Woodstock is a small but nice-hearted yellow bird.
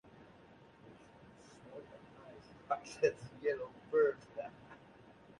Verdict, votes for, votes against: rejected, 0, 2